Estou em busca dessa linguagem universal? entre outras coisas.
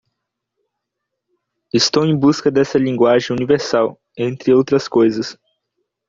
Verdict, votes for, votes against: accepted, 2, 0